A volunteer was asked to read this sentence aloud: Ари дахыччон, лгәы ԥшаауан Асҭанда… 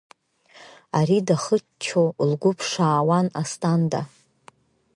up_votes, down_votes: 2, 0